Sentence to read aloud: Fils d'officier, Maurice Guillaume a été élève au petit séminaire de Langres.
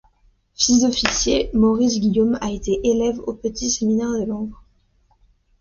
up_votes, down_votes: 0, 2